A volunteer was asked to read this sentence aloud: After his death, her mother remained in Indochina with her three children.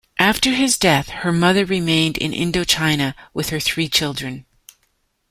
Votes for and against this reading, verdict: 2, 0, accepted